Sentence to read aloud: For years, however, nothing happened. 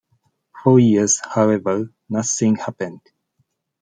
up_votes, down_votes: 2, 0